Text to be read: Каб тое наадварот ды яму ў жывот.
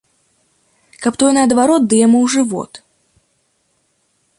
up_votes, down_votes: 2, 0